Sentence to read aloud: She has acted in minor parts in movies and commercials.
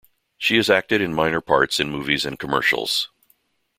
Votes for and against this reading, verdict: 2, 0, accepted